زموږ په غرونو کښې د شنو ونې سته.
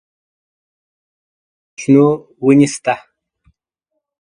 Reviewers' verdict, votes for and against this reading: rejected, 0, 2